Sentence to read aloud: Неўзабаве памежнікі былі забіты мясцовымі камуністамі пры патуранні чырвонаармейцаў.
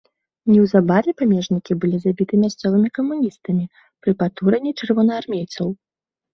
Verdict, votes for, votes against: rejected, 1, 2